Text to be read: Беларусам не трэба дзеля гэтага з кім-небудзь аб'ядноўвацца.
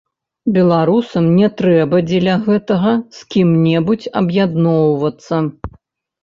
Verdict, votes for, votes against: rejected, 0, 2